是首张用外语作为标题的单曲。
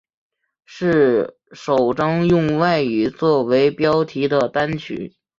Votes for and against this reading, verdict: 3, 0, accepted